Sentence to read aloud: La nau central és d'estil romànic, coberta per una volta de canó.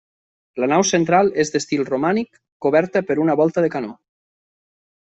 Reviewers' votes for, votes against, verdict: 3, 0, accepted